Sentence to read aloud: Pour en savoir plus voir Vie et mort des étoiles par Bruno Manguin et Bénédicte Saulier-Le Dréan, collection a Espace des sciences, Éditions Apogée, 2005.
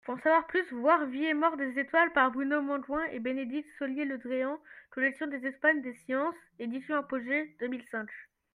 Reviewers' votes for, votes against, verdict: 0, 2, rejected